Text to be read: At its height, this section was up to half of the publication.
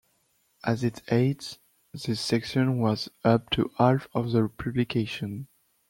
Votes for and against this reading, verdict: 1, 2, rejected